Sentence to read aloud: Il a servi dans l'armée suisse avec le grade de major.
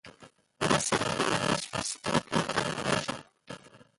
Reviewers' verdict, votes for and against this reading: rejected, 0, 2